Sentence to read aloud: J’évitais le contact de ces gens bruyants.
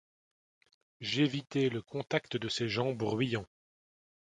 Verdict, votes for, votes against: accepted, 2, 0